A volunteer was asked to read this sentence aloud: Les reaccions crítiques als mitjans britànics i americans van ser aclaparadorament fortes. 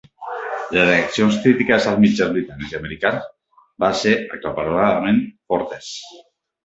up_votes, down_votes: 0, 3